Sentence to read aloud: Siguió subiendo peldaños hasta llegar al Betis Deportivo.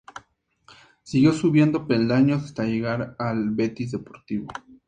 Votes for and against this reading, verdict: 2, 0, accepted